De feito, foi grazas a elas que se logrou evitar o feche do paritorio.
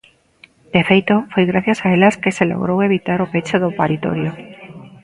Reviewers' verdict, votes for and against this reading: rejected, 1, 2